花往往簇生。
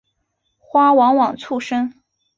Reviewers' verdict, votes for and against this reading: accepted, 2, 0